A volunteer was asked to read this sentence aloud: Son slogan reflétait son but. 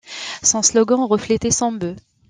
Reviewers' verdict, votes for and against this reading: rejected, 0, 2